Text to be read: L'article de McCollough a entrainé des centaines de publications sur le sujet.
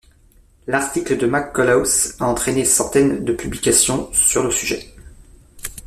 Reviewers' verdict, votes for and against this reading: rejected, 0, 2